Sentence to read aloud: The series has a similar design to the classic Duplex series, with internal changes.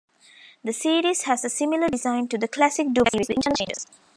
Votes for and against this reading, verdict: 1, 2, rejected